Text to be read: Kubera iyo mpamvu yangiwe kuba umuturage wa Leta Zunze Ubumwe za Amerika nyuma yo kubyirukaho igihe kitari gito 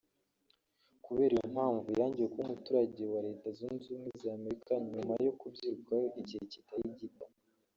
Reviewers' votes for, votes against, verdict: 1, 2, rejected